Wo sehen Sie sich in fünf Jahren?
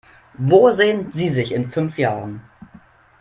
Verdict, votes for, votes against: accepted, 3, 0